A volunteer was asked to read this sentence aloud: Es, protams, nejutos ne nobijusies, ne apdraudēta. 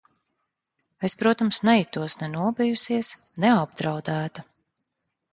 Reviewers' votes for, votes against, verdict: 2, 0, accepted